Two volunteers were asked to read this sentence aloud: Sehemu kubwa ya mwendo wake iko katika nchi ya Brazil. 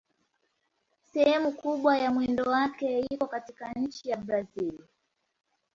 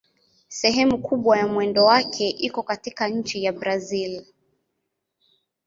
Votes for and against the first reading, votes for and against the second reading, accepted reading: 1, 2, 2, 0, second